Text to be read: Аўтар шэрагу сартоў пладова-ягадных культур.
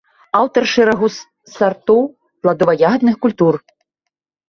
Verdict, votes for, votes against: rejected, 1, 3